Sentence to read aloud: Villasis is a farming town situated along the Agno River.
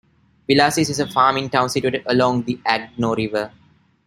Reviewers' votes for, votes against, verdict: 0, 2, rejected